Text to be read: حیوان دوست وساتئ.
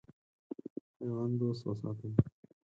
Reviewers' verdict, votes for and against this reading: accepted, 4, 2